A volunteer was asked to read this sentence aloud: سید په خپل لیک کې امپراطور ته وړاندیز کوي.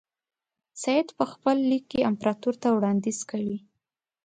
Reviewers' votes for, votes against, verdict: 2, 0, accepted